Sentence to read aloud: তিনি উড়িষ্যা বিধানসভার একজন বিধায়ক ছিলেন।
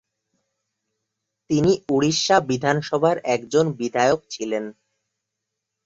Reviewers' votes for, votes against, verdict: 5, 1, accepted